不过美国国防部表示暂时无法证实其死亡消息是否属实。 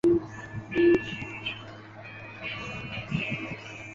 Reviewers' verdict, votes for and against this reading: rejected, 0, 3